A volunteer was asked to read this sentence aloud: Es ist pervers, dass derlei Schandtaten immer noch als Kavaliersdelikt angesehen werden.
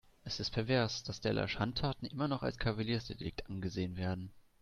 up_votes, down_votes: 1, 2